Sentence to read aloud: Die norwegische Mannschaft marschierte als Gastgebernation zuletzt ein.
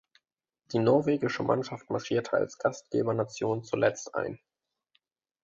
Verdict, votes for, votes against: accepted, 2, 0